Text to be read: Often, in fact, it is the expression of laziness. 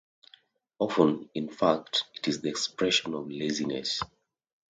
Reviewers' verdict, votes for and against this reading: accepted, 2, 0